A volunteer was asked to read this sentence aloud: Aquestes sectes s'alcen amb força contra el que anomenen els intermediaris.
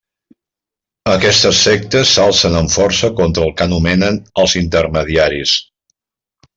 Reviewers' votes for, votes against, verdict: 2, 0, accepted